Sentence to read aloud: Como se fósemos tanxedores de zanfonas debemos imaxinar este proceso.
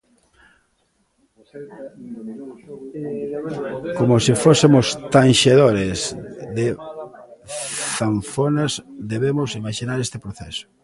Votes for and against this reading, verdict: 1, 2, rejected